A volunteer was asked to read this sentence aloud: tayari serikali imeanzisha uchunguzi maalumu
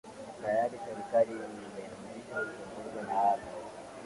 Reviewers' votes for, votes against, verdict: 3, 5, rejected